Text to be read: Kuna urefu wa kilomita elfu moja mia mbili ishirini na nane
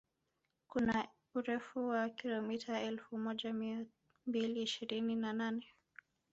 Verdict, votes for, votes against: rejected, 0, 2